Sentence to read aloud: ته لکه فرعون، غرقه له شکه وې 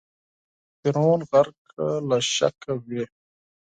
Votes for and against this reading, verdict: 2, 4, rejected